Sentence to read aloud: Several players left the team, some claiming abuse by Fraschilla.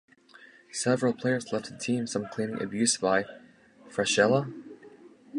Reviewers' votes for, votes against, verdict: 1, 2, rejected